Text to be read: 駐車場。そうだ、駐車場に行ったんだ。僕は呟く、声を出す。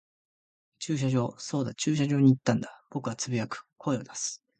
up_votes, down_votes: 2, 1